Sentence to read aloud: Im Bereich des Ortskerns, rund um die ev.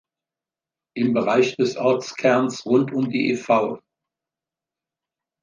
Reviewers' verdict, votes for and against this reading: accepted, 2, 0